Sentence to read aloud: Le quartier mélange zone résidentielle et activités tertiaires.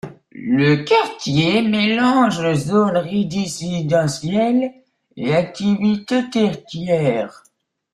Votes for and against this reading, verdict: 0, 2, rejected